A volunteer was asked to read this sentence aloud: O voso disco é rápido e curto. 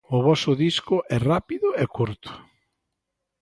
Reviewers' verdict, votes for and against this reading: accepted, 2, 0